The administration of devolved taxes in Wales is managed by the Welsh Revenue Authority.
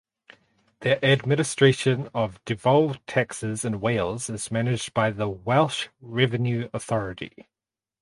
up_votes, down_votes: 4, 0